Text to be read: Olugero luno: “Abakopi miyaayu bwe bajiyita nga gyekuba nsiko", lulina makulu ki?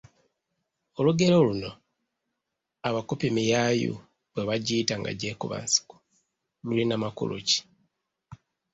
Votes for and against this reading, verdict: 3, 0, accepted